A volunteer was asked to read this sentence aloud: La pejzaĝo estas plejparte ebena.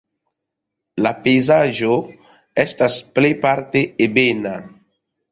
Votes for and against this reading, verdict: 0, 2, rejected